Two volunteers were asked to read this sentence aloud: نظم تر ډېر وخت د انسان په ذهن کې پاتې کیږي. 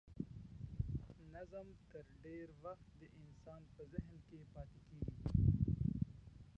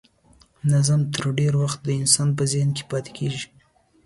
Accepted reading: second